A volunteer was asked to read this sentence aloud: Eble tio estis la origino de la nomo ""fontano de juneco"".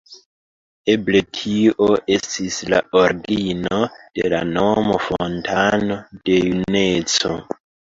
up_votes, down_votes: 2, 1